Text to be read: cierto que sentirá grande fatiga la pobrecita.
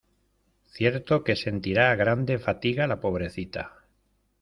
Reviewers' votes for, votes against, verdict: 2, 0, accepted